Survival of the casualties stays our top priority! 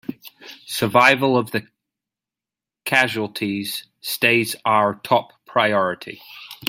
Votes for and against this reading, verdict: 2, 1, accepted